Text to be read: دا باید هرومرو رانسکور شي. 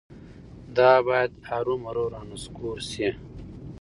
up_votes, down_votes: 2, 0